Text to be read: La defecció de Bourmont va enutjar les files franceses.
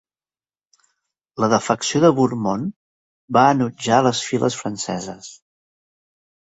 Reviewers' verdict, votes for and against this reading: accepted, 2, 0